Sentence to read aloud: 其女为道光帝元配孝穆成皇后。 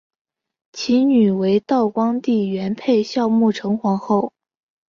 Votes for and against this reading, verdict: 2, 0, accepted